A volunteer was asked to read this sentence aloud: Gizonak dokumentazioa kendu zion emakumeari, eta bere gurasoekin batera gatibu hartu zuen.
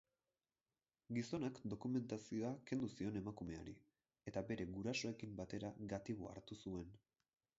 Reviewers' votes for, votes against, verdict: 0, 4, rejected